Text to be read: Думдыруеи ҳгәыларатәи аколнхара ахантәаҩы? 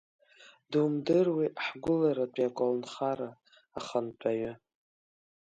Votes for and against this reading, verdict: 3, 2, accepted